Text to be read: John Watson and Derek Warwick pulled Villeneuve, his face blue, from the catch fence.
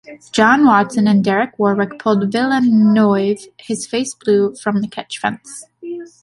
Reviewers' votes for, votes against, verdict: 0, 2, rejected